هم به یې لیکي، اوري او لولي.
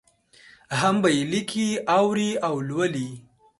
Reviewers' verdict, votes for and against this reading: accepted, 2, 0